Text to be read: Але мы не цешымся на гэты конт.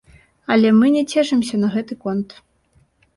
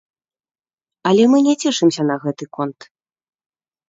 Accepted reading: first